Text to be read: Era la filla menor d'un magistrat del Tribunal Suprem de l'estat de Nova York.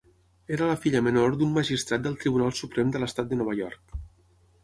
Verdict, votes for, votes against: accepted, 6, 0